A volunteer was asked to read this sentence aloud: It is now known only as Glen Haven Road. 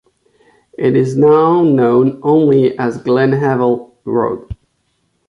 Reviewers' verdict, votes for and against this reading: rejected, 0, 2